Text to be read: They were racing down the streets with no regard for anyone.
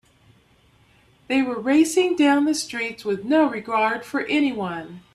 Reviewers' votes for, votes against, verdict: 2, 0, accepted